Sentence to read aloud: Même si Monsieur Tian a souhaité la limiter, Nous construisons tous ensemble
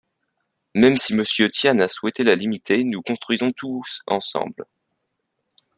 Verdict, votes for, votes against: accepted, 2, 0